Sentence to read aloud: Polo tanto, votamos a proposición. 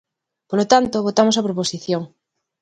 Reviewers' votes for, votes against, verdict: 2, 0, accepted